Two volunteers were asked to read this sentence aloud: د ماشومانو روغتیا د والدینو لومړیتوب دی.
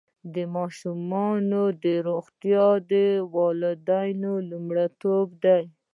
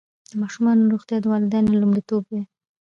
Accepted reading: second